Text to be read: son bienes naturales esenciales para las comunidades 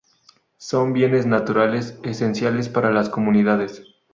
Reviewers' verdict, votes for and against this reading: accepted, 2, 0